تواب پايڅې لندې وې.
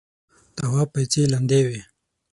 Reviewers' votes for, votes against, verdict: 6, 0, accepted